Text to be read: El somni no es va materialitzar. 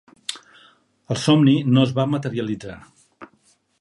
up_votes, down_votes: 4, 0